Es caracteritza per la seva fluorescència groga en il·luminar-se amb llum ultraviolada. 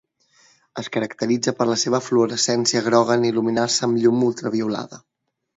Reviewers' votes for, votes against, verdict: 2, 0, accepted